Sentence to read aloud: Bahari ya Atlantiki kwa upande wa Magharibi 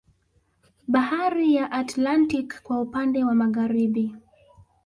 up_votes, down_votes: 2, 0